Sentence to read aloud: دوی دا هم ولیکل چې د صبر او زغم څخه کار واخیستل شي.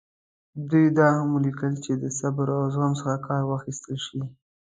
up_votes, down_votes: 2, 0